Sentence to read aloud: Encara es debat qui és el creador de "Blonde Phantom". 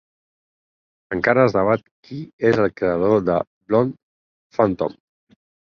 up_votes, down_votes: 4, 2